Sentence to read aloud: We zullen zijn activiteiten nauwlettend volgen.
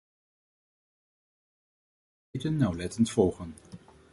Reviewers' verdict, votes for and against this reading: rejected, 0, 2